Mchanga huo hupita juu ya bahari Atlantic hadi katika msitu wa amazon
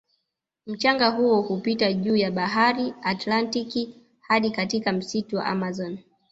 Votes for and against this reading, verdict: 0, 2, rejected